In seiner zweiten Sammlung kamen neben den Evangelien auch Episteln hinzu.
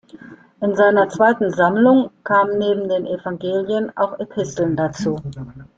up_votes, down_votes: 0, 2